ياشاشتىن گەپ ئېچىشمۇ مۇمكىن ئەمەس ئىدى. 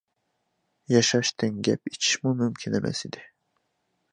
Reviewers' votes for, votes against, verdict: 2, 0, accepted